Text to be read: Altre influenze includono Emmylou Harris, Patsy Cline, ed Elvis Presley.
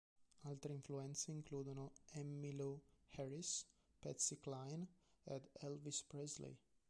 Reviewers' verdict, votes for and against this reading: rejected, 1, 4